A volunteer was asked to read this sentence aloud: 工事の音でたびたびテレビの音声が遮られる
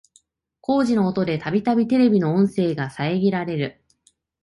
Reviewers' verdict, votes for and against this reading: accepted, 2, 0